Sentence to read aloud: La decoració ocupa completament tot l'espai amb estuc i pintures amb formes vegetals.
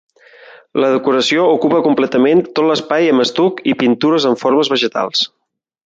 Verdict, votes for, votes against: accepted, 3, 0